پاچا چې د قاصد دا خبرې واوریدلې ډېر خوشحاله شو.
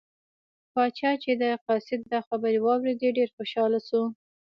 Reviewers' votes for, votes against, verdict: 2, 1, accepted